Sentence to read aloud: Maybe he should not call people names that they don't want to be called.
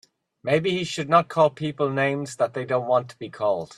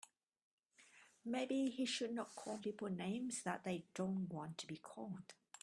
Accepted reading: first